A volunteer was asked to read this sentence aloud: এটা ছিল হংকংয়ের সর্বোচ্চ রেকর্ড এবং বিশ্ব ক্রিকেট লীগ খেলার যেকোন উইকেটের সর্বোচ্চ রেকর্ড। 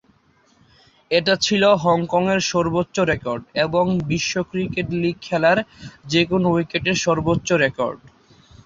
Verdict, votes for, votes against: accepted, 2, 0